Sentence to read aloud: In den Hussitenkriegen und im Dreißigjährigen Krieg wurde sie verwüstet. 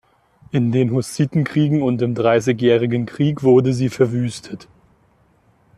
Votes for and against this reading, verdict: 2, 0, accepted